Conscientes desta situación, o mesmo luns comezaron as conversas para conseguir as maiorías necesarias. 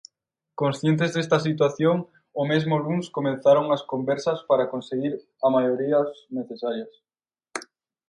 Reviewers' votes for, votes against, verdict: 0, 4, rejected